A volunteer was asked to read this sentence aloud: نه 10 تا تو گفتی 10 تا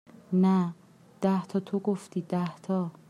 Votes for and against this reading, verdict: 0, 2, rejected